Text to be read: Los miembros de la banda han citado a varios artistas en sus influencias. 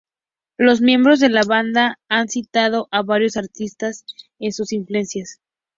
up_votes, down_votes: 2, 0